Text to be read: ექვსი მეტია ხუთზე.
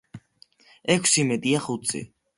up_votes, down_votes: 2, 0